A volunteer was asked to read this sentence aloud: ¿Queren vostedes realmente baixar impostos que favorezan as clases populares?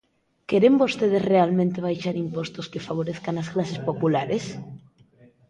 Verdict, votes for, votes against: rejected, 0, 2